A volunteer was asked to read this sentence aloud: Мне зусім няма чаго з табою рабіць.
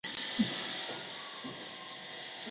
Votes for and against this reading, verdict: 0, 2, rejected